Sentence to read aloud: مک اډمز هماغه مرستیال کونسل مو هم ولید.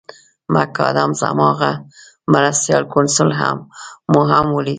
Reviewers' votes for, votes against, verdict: 2, 0, accepted